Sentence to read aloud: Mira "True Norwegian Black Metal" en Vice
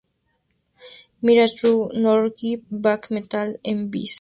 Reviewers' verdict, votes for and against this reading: rejected, 2, 2